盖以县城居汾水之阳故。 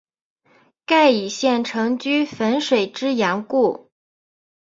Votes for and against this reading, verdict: 4, 0, accepted